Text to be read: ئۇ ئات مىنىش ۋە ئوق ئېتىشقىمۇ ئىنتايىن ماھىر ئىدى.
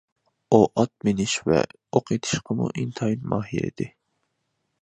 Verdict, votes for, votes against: accepted, 2, 0